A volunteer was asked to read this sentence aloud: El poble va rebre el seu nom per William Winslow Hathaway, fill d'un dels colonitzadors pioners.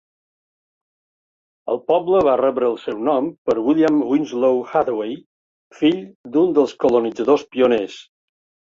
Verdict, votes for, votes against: accepted, 4, 0